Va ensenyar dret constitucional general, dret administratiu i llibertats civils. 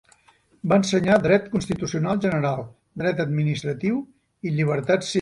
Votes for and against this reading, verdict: 0, 2, rejected